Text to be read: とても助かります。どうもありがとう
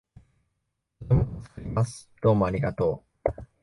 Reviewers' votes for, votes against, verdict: 0, 2, rejected